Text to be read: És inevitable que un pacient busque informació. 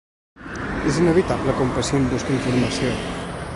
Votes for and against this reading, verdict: 0, 2, rejected